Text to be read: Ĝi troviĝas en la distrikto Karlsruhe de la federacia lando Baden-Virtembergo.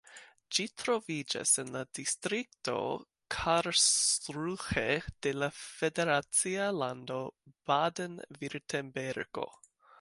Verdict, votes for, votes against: accepted, 2, 1